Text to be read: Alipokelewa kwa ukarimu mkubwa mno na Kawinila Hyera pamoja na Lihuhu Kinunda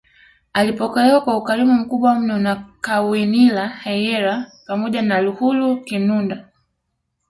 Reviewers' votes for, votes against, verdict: 2, 0, accepted